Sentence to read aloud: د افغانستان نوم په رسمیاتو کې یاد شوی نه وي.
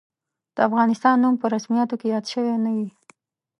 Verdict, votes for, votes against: accepted, 2, 0